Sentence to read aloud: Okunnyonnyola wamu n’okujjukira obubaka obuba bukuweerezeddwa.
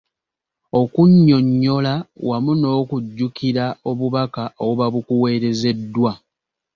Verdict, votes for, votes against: accepted, 2, 0